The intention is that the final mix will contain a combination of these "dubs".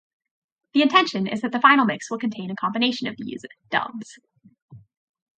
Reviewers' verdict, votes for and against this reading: rejected, 0, 2